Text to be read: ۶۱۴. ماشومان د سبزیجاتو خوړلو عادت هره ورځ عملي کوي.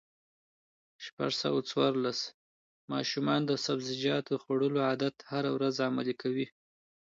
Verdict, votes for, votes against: rejected, 0, 2